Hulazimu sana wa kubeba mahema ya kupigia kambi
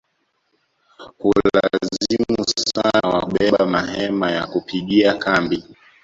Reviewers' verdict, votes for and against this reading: rejected, 0, 2